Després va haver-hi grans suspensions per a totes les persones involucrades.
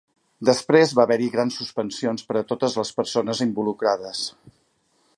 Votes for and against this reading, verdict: 8, 0, accepted